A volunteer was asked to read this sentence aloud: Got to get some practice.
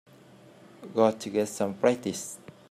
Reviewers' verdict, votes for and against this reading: rejected, 0, 2